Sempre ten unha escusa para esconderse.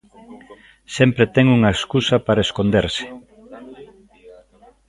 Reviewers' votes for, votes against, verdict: 1, 2, rejected